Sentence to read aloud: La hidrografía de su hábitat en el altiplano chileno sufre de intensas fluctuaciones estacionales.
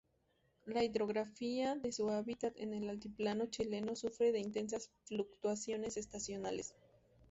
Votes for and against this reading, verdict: 2, 2, rejected